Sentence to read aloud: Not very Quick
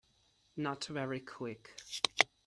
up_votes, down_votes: 2, 0